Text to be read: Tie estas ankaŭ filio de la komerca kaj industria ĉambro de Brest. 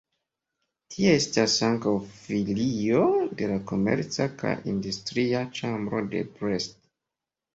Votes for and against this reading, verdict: 2, 0, accepted